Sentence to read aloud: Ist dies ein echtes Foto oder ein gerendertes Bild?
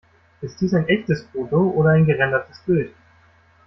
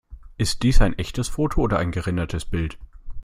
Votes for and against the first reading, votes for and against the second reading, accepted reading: 1, 2, 2, 0, second